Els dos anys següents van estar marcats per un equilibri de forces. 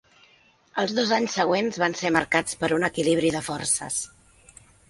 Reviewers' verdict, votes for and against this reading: rejected, 2, 3